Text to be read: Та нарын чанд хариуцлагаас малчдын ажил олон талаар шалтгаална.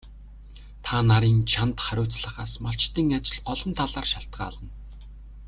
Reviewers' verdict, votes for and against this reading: accepted, 2, 0